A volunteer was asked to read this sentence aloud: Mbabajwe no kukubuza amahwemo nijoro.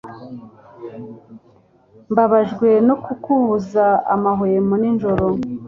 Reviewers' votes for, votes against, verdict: 2, 0, accepted